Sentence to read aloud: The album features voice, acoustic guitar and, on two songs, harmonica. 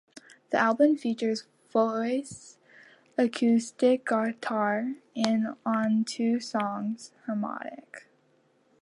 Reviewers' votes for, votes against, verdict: 0, 2, rejected